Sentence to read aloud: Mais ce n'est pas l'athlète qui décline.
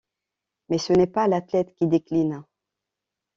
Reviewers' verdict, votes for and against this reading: accepted, 2, 0